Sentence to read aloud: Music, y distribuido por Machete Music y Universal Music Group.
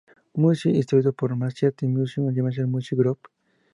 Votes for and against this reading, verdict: 4, 2, accepted